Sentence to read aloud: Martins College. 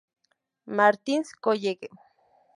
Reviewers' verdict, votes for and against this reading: rejected, 0, 2